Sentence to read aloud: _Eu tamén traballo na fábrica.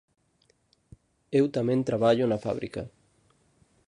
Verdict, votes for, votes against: accepted, 3, 0